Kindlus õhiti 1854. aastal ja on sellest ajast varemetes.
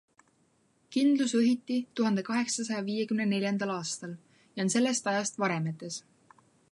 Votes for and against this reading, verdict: 0, 2, rejected